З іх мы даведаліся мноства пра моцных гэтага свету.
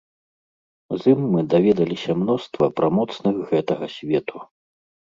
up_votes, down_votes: 1, 2